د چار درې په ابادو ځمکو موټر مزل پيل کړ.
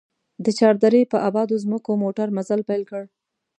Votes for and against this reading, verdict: 2, 0, accepted